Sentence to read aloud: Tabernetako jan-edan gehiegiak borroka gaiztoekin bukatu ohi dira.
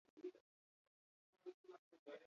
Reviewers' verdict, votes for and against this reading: accepted, 2, 0